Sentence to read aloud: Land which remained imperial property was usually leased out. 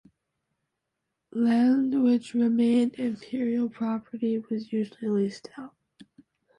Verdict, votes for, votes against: rejected, 1, 2